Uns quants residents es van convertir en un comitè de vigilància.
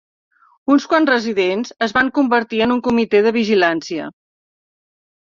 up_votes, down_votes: 3, 0